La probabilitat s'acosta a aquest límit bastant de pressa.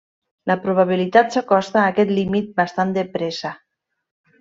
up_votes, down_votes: 3, 0